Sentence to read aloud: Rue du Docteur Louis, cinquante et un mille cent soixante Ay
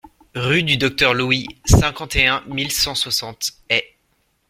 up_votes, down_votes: 2, 0